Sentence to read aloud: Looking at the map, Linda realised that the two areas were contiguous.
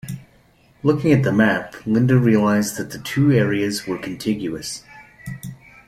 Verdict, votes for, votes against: accepted, 2, 0